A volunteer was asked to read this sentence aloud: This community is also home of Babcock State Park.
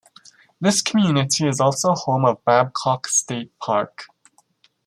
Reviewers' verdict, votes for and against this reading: accepted, 2, 0